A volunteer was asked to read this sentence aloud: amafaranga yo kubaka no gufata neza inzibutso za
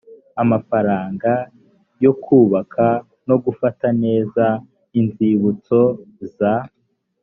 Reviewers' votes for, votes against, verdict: 2, 0, accepted